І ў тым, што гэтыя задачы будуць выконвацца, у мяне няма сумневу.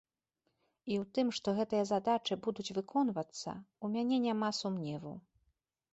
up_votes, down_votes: 2, 0